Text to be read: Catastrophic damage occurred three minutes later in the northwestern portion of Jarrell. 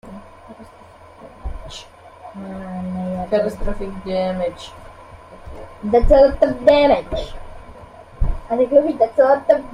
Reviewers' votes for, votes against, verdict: 1, 2, rejected